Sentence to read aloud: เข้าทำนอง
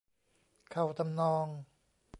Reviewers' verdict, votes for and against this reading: rejected, 1, 2